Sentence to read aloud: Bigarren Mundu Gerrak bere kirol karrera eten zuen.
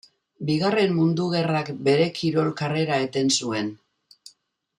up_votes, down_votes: 2, 0